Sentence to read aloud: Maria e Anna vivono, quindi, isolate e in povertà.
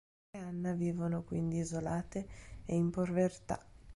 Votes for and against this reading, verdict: 0, 2, rejected